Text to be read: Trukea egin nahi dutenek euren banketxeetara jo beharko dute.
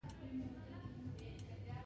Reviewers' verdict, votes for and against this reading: rejected, 0, 2